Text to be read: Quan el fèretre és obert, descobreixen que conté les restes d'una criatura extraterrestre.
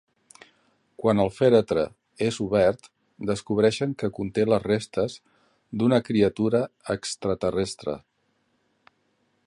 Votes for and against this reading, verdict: 2, 0, accepted